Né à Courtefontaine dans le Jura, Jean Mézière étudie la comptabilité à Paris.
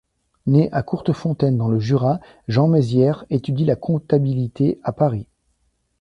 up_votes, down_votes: 2, 0